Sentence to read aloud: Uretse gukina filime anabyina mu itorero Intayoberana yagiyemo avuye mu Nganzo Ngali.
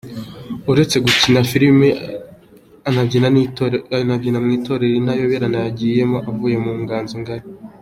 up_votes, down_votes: 2, 0